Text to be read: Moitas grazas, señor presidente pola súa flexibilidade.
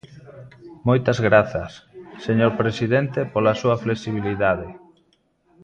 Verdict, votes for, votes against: accepted, 2, 0